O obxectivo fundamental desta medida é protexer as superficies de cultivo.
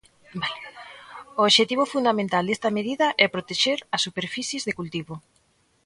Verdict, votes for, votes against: rejected, 0, 2